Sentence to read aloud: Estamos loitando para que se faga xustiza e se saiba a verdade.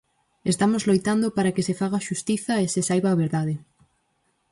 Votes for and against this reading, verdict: 4, 0, accepted